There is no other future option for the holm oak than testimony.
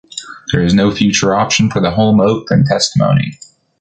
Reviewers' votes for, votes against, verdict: 1, 2, rejected